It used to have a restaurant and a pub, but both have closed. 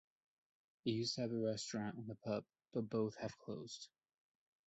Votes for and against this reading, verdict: 1, 2, rejected